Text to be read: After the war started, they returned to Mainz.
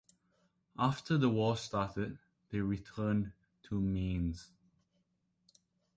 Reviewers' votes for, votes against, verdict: 1, 2, rejected